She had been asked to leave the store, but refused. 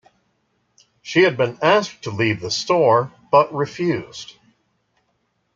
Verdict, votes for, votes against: rejected, 1, 2